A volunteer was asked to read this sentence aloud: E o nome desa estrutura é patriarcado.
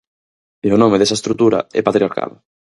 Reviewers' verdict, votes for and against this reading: accepted, 4, 0